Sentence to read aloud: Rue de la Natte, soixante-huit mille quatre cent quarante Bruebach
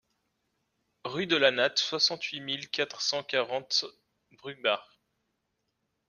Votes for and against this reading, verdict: 2, 0, accepted